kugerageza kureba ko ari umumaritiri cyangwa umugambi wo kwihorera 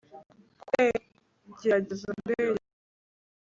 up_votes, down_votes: 1, 2